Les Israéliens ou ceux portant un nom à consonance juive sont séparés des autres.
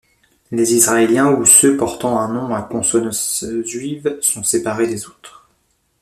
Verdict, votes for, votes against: rejected, 1, 3